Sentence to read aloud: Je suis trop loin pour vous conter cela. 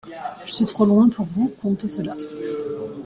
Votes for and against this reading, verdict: 2, 0, accepted